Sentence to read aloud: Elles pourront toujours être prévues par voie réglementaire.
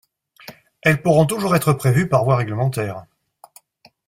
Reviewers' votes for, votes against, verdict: 2, 0, accepted